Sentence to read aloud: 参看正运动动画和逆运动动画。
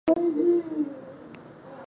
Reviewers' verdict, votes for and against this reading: rejected, 0, 3